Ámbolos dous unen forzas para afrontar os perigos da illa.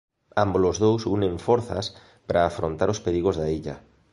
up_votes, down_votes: 2, 0